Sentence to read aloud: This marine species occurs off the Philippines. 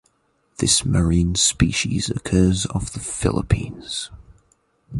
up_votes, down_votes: 10, 0